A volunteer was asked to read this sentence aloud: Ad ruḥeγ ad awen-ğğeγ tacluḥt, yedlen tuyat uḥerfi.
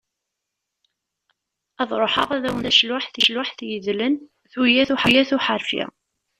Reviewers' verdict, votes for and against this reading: rejected, 0, 2